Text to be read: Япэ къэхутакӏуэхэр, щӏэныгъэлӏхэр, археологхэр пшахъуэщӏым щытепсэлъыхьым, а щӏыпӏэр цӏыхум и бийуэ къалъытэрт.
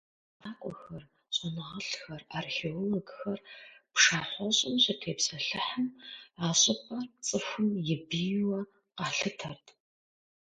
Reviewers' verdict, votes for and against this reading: rejected, 0, 2